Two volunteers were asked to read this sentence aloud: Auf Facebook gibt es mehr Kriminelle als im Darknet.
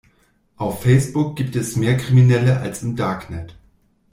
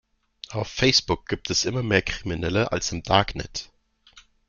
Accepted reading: first